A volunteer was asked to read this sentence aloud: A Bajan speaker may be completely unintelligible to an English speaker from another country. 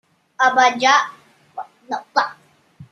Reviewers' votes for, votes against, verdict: 0, 2, rejected